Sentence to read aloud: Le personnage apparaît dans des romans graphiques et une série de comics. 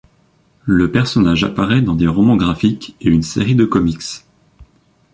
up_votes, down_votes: 2, 0